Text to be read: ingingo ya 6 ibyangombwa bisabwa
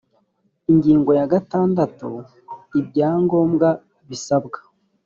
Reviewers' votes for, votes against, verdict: 0, 2, rejected